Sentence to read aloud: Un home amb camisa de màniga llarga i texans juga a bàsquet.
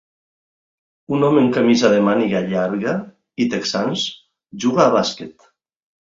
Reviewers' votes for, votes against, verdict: 2, 0, accepted